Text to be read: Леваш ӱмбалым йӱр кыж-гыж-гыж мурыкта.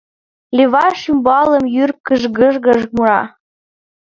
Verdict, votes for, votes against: rejected, 1, 2